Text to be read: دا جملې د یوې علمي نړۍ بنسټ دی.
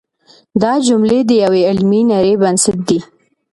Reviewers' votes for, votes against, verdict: 2, 0, accepted